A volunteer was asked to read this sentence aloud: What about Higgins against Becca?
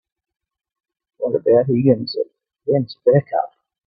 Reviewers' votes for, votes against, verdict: 0, 4, rejected